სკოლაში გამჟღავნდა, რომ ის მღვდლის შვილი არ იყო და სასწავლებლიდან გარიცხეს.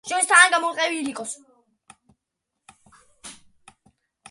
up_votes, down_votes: 0, 2